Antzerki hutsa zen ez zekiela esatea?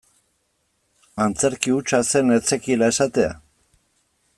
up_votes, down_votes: 2, 0